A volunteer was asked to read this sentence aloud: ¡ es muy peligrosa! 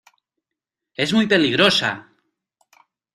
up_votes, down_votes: 2, 0